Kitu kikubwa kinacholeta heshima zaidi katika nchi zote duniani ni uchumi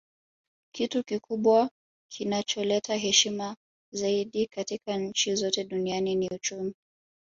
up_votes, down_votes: 2, 1